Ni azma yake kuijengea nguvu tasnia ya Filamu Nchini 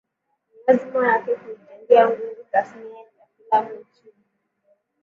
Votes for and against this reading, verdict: 0, 3, rejected